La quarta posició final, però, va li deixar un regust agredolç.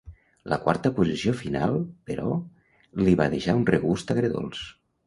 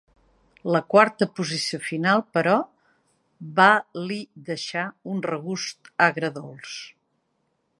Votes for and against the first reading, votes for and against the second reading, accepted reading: 0, 2, 2, 0, second